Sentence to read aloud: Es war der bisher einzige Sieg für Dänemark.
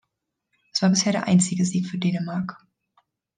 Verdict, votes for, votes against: rejected, 2, 3